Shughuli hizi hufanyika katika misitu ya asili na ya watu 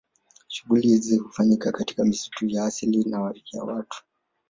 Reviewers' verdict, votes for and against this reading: rejected, 1, 2